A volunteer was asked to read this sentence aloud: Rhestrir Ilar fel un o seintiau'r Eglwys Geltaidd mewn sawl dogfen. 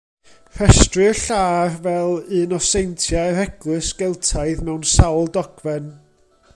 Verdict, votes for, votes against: rejected, 0, 2